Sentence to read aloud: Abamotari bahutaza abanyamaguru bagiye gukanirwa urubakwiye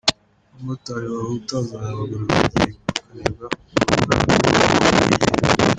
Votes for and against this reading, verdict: 1, 2, rejected